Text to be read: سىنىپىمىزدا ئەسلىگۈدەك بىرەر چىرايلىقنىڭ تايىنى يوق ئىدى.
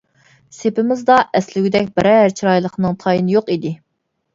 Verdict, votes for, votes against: rejected, 0, 2